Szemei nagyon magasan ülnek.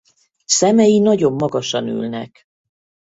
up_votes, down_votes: 2, 2